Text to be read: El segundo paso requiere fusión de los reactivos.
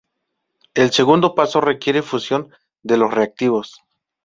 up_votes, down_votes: 2, 0